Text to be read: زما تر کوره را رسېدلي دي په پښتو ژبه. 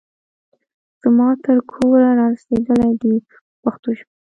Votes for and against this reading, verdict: 0, 2, rejected